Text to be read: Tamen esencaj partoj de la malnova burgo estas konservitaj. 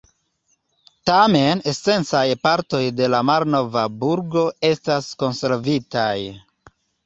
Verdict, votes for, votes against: accepted, 2, 0